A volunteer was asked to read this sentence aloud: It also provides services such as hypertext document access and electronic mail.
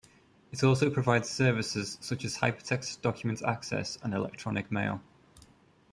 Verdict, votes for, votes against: accepted, 2, 0